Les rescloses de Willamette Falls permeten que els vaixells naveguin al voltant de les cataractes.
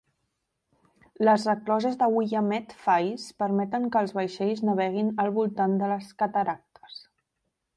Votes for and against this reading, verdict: 1, 2, rejected